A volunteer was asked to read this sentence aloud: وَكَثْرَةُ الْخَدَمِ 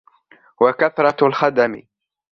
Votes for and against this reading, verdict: 2, 0, accepted